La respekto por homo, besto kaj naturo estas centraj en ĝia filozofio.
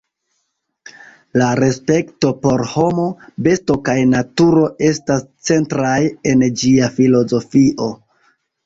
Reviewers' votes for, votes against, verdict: 2, 0, accepted